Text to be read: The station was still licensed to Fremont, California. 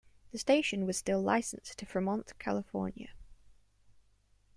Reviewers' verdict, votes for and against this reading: accepted, 2, 0